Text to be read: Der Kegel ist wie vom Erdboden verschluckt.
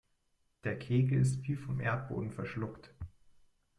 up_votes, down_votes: 2, 0